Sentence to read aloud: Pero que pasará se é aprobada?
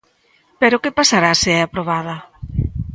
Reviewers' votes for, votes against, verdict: 2, 1, accepted